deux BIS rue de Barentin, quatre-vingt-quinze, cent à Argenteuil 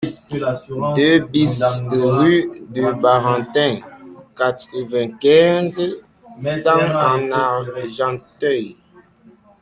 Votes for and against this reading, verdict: 1, 2, rejected